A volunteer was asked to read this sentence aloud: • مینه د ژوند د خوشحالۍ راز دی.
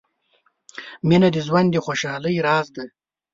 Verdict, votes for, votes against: accepted, 2, 0